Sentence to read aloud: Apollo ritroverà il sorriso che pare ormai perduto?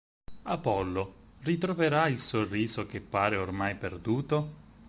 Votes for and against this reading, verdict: 4, 0, accepted